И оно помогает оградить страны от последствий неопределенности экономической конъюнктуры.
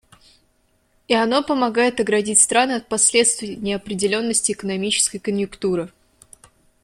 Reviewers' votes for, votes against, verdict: 1, 2, rejected